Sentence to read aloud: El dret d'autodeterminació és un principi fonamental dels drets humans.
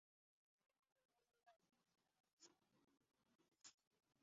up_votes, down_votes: 0, 3